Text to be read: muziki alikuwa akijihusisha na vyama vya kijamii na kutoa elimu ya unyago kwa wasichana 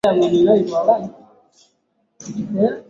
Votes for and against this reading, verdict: 1, 2, rejected